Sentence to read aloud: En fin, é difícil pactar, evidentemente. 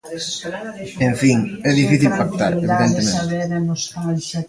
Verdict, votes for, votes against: rejected, 0, 2